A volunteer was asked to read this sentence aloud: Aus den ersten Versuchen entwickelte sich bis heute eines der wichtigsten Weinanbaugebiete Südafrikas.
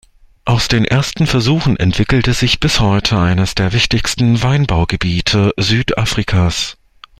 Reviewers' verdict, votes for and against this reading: rejected, 0, 2